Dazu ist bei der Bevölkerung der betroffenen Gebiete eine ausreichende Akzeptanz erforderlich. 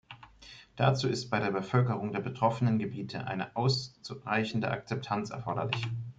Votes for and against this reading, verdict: 0, 2, rejected